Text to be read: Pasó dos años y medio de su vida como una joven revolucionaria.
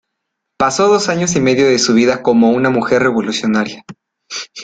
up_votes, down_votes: 1, 2